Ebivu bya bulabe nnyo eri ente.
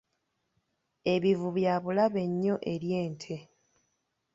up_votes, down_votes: 0, 2